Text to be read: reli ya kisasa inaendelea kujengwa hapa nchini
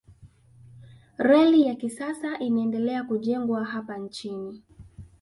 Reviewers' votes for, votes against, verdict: 3, 0, accepted